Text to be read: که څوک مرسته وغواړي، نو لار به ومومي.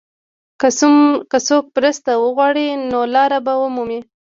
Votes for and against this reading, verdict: 1, 2, rejected